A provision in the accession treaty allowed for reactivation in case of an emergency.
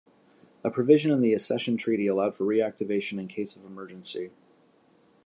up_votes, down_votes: 0, 2